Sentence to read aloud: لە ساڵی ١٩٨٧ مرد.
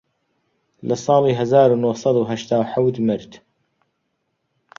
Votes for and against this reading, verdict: 0, 2, rejected